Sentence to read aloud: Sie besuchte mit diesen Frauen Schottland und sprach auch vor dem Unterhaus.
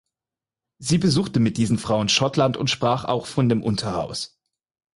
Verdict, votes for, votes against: rejected, 0, 4